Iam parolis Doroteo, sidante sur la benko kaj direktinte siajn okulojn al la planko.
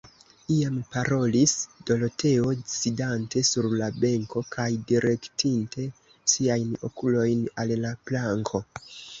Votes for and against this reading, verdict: 1, 2, rejected